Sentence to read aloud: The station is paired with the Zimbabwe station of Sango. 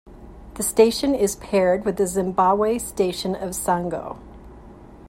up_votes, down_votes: 2, 0